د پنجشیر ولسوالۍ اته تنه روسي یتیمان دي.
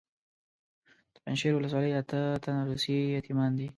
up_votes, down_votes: 2, 0